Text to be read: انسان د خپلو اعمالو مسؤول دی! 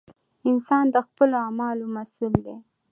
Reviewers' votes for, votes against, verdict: 2, 0, accepted